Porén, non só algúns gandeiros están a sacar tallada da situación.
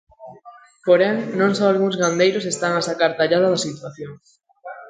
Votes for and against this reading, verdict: 2, 0, accepted